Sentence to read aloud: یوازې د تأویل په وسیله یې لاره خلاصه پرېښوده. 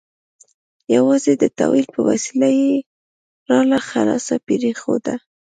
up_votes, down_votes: 2, 0